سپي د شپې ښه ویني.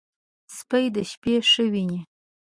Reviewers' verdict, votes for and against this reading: rejected, 0, 2